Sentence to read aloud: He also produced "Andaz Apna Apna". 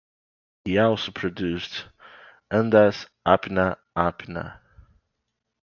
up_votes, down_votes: 2, 0